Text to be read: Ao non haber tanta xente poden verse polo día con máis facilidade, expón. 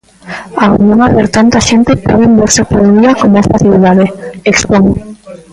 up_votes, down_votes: 0, 2